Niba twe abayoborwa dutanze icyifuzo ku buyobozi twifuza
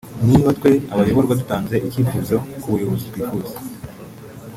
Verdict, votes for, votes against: accepted, 2, 1